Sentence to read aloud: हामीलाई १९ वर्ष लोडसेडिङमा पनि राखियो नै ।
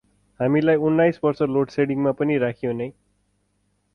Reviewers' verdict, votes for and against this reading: rejected, 0, 2